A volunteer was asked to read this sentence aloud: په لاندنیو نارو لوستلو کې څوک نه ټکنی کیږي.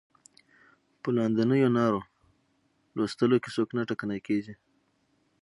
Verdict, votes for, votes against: accepted, 3, 0